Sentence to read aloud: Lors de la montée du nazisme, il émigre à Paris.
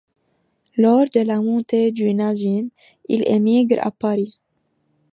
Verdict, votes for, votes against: accepted, 2, 0